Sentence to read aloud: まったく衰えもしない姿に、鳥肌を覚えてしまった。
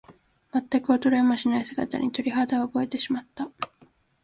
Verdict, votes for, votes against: accepted, 2, 0